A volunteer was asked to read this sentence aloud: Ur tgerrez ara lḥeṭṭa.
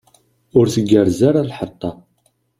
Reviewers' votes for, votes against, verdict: 2, 0, accepted